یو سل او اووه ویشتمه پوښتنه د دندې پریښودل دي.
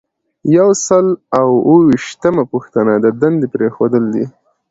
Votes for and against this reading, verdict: 2, 0, accepted